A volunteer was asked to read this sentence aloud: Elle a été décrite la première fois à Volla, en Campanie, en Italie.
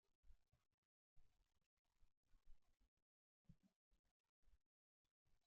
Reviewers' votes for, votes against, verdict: 0, 2, rejected